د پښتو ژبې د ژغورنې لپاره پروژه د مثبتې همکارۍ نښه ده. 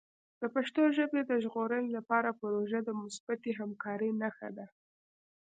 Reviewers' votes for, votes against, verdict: 2, 0, accepted